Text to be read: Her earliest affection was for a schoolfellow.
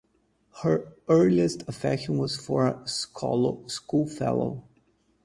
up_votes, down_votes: 2, 2